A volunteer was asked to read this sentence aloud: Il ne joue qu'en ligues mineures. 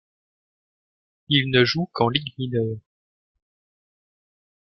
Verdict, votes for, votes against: rejected, 1, 2